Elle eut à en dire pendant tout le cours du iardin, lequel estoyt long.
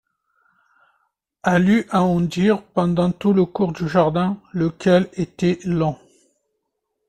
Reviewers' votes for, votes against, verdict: 1, 2, rejected